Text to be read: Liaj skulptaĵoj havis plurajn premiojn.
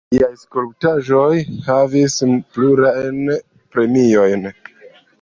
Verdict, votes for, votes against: rejected, 1, 2